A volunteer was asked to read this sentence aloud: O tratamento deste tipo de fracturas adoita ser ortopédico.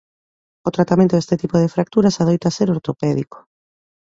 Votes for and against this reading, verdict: 2, 0, accepted